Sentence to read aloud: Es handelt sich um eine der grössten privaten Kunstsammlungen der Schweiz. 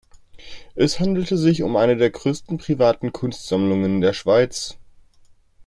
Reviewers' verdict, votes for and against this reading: accepted, 2, 0